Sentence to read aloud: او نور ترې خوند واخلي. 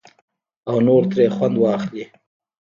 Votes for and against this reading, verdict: 0, 2, rejected